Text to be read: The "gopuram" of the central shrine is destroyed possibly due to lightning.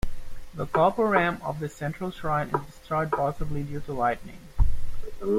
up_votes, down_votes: 2, 0